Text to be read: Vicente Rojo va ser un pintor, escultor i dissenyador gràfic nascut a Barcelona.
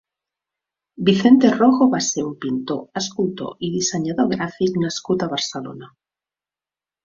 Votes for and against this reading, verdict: 2, 0, accepted